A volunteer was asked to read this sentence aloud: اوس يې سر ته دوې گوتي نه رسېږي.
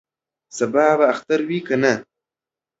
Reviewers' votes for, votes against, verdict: 0, 2, rejected